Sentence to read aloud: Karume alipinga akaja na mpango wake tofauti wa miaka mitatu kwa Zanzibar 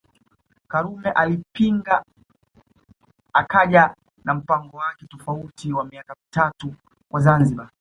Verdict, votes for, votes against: accepted, 2, 0